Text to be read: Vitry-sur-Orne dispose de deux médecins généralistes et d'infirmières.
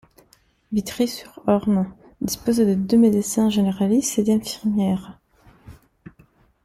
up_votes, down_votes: 2, 0